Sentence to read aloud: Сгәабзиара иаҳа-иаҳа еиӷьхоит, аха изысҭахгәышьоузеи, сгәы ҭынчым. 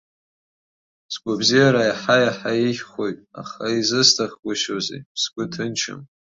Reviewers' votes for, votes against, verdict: 2, 0, accepted